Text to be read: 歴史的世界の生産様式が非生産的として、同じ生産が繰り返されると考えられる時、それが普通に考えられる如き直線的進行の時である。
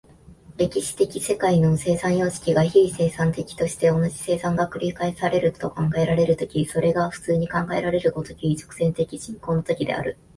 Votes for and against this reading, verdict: 2, 0, accepted